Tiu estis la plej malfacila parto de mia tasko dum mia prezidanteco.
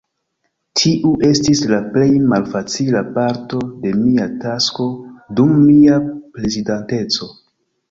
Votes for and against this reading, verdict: 2, 1, accepted